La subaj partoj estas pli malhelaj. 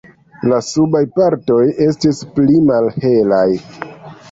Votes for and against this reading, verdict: 2, 0, accepted